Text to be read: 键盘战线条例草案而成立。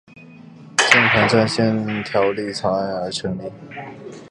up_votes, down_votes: 2, 0